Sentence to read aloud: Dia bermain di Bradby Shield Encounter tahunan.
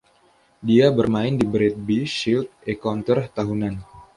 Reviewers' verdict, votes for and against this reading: accepted, 2, 0